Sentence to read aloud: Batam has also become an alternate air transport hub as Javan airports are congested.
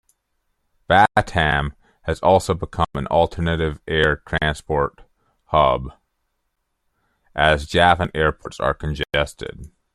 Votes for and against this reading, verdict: 1, 2, rejected